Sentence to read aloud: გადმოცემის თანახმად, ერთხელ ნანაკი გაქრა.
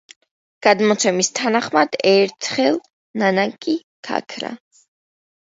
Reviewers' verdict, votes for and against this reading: accepted, 2, 0